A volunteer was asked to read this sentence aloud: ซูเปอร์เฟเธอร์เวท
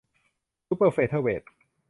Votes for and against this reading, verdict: 2, 0, accepted